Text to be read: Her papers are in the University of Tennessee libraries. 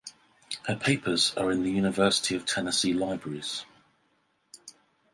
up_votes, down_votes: 2, 2